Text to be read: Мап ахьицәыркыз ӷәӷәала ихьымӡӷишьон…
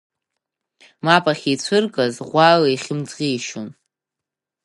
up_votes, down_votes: 4, 0